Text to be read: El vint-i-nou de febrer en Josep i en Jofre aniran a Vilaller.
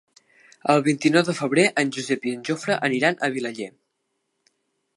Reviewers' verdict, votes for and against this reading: accepted, 2, 0